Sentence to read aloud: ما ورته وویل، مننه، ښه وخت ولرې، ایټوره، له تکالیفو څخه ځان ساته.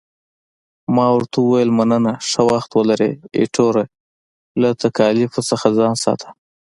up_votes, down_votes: 2, 0